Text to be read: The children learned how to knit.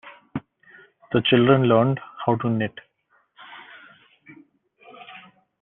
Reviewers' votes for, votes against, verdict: 2, 0, accepted